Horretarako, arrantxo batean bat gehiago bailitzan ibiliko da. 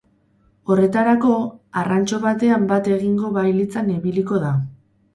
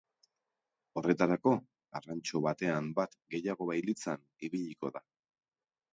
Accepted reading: second